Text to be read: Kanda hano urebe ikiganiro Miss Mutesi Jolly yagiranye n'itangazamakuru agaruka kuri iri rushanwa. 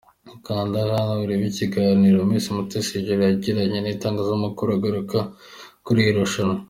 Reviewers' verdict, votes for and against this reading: accepted, 2, 1